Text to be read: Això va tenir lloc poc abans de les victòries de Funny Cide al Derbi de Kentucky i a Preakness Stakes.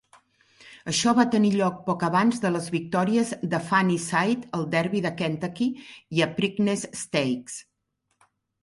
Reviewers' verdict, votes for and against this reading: accepted, 4, 0